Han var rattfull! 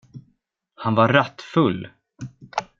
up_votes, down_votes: 2, 0